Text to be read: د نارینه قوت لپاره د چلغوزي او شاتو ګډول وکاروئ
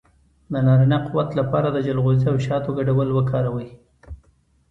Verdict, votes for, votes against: accepted, 2, 1